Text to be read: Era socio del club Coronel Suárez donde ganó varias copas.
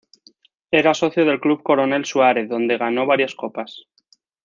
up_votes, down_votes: 0, 2